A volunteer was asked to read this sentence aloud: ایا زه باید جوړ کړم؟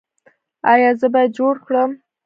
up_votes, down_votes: 1, 2